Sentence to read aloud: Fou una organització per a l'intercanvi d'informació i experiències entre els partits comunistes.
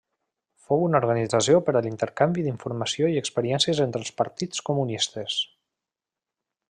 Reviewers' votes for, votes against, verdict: 0, 2, rejected